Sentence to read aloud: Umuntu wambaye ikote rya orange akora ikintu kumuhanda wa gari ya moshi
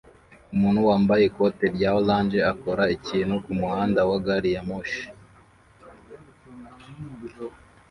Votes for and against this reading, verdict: 2, 0, accepted